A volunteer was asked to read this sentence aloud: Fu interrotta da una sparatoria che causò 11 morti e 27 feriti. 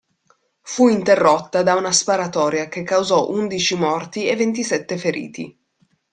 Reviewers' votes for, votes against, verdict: 0, 2, rejected